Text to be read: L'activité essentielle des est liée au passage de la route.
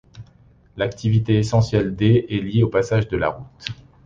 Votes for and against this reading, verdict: 2, 0, accepted